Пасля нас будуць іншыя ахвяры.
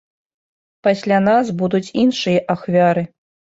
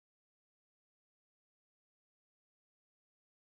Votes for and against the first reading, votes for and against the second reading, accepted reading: 2, 0, 0, 2, first